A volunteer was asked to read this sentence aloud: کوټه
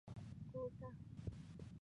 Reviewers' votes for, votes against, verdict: 0, 2, rejected